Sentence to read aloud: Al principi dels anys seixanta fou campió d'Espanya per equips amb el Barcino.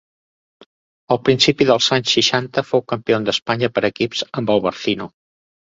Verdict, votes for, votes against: rejected, 1, 2